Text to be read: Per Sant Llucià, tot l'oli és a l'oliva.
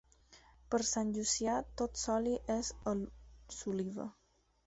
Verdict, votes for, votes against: rejected, 0, 4